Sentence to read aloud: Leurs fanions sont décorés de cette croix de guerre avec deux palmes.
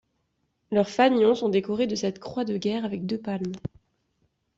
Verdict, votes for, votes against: accepted, 2, 0